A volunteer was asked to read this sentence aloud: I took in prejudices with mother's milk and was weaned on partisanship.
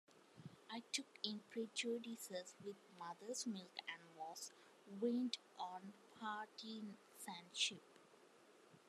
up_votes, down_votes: 0, 2